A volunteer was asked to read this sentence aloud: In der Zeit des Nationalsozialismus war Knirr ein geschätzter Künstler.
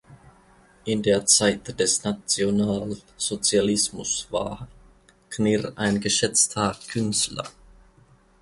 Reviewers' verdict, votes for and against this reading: accepted, 2, 0